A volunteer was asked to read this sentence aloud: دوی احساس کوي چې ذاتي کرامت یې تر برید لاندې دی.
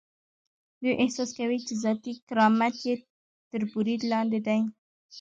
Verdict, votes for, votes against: rejected, 0, 2